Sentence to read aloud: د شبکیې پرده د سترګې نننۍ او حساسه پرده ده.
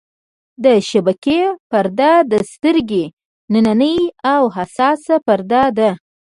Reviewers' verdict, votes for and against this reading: accepted, 2, 0